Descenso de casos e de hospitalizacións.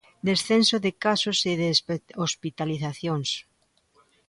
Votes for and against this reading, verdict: 1, 2, rejected